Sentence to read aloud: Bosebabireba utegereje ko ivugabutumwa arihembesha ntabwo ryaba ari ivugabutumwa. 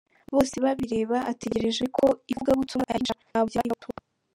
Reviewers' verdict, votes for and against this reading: rejected, 0, 2